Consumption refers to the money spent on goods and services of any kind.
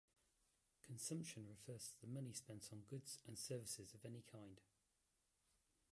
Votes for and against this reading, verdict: 1, 2, rejected